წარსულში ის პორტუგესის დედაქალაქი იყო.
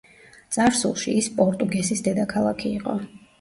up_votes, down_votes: 2, 0